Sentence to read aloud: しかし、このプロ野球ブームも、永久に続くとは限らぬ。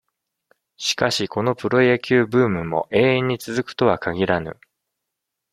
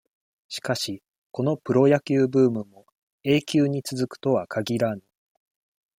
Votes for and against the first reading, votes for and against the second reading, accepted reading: 1, 2, 2, 0, second